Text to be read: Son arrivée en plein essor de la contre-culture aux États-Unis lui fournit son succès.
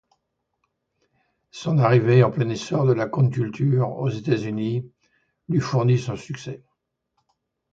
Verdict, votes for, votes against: rejected, 1, 2